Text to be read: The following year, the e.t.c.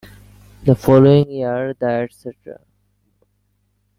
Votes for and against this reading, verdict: 2, 0, accepted